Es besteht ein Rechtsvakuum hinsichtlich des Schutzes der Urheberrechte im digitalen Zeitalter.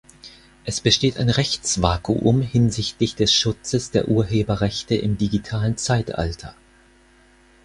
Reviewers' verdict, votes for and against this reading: accepted, 4, 0